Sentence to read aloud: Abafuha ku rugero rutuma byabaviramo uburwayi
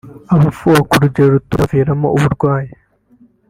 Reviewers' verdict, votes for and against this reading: accepted, 2, 0